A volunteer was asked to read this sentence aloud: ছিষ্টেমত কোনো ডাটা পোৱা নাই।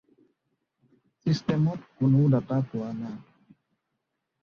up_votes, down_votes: 0, 2